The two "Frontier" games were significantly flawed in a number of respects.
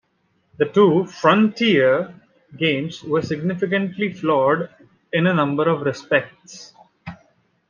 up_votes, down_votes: 0, 2